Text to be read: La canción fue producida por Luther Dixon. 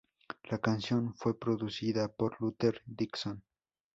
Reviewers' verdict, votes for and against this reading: accepted, 2, 0